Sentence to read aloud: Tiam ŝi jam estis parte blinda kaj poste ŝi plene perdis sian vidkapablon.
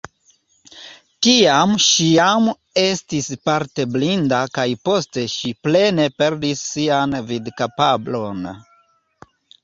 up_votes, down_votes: 2, 0